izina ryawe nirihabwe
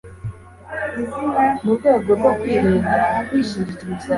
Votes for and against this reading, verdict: 1, 2, rejected